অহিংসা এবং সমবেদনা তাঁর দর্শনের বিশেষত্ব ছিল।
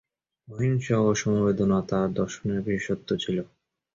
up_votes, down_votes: 2, 0